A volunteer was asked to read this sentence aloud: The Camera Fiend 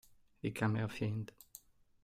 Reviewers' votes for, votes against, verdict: 3, 2, accepted